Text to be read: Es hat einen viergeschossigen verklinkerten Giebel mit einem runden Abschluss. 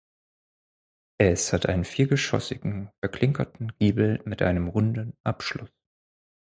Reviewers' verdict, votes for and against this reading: rejected, 2, 4